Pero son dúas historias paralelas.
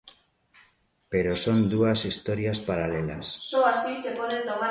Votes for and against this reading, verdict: 0, 3, rejected